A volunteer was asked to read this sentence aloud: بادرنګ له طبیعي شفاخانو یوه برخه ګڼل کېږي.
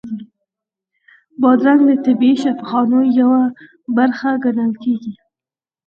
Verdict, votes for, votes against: accepted, 4, 0